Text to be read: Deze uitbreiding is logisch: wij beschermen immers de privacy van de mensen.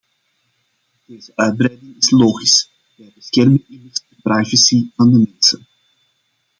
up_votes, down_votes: 0, 2